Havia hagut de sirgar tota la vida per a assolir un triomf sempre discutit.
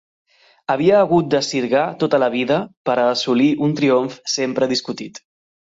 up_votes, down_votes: 2, 0